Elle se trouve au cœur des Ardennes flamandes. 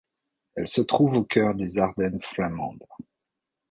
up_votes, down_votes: 0, 2